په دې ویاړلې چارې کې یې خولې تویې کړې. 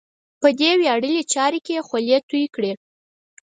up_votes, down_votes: 4, 0